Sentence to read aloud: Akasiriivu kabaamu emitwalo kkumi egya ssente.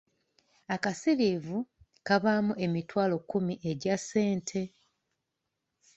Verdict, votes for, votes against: accepted, 2, 0